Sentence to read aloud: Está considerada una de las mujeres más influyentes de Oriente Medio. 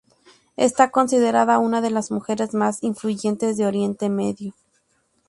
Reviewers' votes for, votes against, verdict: 2, 0, accepted